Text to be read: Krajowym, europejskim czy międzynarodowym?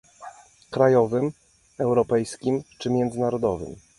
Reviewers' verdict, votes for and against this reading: accepted, 2, 1